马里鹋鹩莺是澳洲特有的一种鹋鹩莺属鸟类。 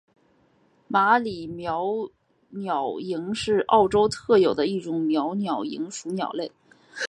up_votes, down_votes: 2, 0